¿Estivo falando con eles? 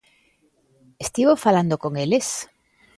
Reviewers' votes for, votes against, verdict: 2, 0, accepted